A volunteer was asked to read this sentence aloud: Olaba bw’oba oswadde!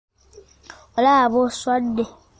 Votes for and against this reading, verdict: 0, 2, rejected